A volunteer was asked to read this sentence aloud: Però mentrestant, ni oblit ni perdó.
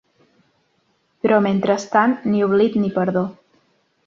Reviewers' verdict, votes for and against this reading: accepted, 2, 0